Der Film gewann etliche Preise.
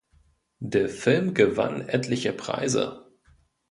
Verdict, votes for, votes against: accepted, 2, 0